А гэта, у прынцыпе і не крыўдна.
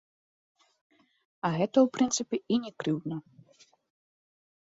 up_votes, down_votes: 2, 0